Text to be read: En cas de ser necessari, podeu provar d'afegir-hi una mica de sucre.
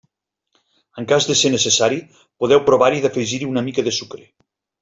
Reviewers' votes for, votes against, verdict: 1, 2, rejected